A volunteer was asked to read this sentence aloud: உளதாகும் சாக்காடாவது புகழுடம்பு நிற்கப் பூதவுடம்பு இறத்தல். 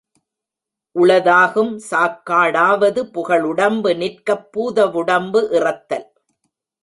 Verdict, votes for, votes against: accepted, 2, 0